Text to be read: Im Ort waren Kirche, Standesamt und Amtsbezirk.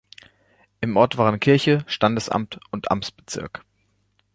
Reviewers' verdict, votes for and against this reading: accepted, 2, 0